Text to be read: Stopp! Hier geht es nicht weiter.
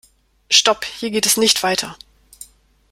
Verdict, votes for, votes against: accepted, 2, 0